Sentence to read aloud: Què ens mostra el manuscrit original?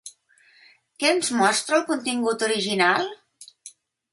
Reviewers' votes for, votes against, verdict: 1, 2, rejected